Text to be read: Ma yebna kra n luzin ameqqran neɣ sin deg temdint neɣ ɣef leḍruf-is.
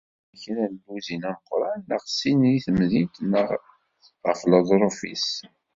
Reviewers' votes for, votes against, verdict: 1, 2, rejected